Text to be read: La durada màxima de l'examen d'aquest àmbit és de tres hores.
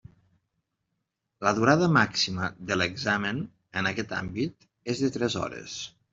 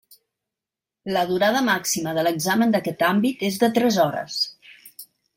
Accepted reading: second